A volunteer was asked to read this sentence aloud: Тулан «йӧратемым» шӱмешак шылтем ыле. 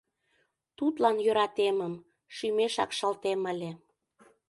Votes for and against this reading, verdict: 1, 2, rejected